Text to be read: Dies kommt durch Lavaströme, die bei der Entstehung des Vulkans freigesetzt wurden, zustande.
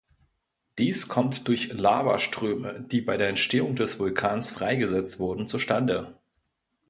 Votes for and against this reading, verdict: 2, 0, accepted